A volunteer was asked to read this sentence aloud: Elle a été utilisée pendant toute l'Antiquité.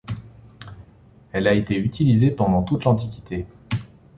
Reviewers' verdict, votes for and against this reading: accepted, 2, 0